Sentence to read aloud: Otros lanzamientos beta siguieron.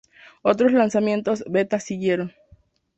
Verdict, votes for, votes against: accepted, 2, 0